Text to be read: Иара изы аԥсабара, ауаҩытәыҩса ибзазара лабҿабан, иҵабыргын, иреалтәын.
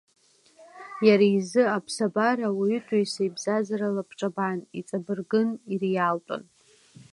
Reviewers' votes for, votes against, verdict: 2, 1, accepted